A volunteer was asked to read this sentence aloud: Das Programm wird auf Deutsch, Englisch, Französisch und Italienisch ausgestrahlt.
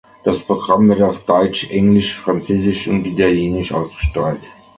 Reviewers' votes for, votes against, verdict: 2, 1, accepted